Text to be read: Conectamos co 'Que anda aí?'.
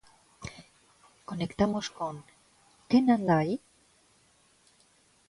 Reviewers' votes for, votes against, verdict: 1, 2, rejected